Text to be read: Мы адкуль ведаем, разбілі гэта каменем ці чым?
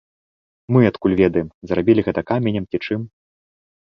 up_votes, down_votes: 2, 1